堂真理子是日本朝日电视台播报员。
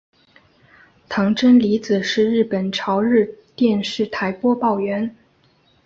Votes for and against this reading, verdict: 3, 0, accepted